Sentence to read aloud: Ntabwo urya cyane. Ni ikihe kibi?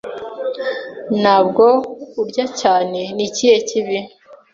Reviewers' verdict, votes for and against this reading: accepted, 2, 0